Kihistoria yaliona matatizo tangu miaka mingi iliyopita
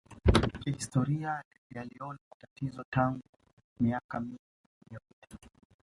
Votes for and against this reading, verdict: 1, 2, rejected